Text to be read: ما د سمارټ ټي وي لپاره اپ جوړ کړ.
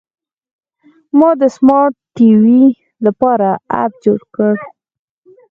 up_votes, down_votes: 4, 0